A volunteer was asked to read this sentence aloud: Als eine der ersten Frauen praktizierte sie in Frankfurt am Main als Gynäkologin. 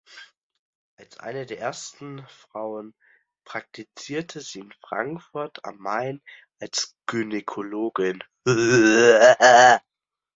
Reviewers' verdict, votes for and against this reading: rejected, 0, 2